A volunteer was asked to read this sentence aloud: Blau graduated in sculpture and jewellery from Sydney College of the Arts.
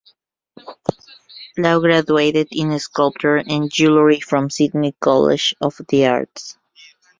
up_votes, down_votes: 1, 2